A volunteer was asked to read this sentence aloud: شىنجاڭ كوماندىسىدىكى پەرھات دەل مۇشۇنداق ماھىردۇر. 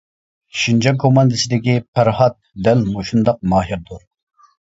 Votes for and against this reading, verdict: 2, 0, accepted